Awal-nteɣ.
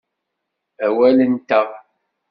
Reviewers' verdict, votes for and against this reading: accepted, 2, 0